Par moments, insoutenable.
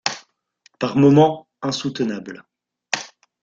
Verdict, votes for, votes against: rejected, 1, 2